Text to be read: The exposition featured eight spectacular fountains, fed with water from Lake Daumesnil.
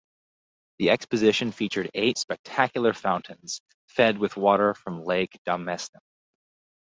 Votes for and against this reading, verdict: 2, 2, rejected